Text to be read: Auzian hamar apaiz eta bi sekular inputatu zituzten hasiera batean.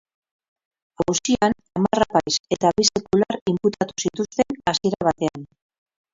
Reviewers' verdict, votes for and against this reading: rejected, 0, 4